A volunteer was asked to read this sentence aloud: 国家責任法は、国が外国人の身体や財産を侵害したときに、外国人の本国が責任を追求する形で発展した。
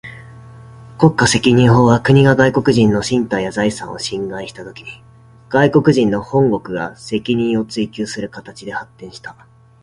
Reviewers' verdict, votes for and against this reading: rejected, 1, 2